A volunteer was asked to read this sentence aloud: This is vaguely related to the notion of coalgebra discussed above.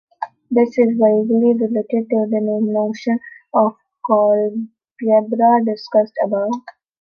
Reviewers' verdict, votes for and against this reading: rejected, 0, 2